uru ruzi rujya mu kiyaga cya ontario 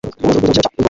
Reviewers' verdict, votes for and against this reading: rejected, 0, 2